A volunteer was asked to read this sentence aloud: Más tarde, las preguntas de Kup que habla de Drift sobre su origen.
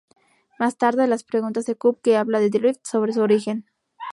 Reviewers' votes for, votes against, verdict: 4, 0, accepted